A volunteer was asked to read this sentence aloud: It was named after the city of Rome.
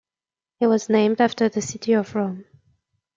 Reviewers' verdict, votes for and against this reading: accepted, 2, 0